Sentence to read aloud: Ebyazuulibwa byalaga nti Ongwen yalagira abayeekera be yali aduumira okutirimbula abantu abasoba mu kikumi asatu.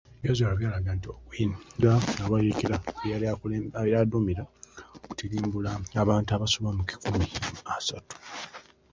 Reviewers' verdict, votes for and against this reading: accepted, 2, 1